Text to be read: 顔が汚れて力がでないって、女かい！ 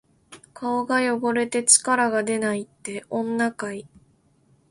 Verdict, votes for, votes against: accepted, 2, 0